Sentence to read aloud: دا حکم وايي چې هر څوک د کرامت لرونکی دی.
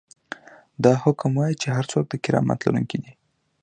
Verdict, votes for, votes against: accepted, 2, 0